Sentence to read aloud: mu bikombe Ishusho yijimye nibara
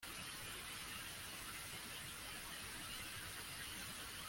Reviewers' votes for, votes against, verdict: 1, 2, rejected